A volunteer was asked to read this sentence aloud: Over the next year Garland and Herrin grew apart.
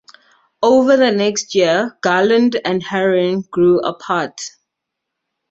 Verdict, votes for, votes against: accepted, 2, 0